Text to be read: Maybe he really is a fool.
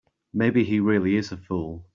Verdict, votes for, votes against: accepted, 2, 1